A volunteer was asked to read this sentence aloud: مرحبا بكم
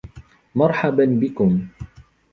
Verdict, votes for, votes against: accepted, 2, 0